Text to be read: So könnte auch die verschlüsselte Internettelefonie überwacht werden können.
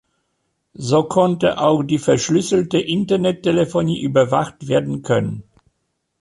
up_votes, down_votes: 0, 2